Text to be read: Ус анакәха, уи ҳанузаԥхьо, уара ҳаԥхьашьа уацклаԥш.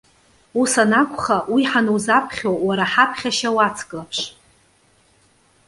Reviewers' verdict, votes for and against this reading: accepted, 2, 0